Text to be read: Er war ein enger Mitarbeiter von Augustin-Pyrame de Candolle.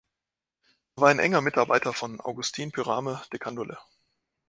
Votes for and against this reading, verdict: 0, 2, rejected